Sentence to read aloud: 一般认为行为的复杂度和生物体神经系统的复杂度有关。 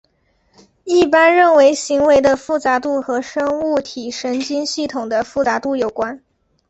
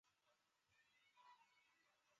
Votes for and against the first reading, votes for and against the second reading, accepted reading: 4, 1, 0, 3, first